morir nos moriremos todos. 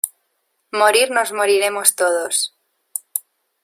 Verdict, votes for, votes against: accepted, 2, 0